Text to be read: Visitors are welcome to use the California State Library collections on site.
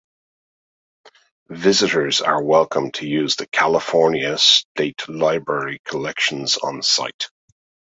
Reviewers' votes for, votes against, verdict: 2, 0, accepted